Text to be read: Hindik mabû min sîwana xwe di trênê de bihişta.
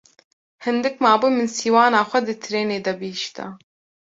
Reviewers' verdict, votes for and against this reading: accepted, 2, 0